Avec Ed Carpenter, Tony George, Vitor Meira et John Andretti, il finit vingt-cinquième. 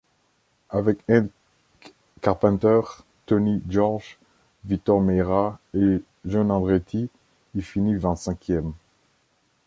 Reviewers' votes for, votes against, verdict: 0, 2, rejected